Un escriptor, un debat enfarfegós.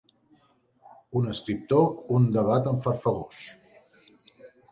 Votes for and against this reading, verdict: 4, 0, accepted